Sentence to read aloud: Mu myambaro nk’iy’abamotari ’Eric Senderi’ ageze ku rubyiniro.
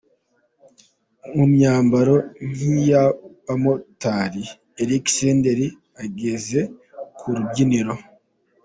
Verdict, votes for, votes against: accepted, 2, 0